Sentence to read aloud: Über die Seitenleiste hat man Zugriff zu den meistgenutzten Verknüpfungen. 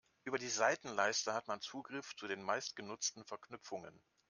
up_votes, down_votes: 2, 0